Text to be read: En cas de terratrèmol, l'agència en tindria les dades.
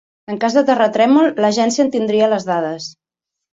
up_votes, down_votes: 3, 0